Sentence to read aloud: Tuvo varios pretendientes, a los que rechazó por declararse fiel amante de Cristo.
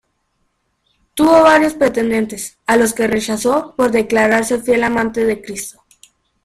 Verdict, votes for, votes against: accepted, 2, 0